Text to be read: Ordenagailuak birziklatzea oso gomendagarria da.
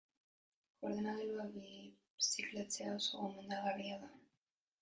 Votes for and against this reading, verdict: 0, 2, rejected